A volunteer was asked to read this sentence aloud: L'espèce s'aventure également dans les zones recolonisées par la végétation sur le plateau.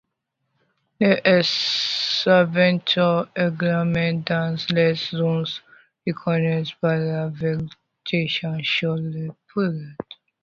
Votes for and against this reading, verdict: 0, 2, rejected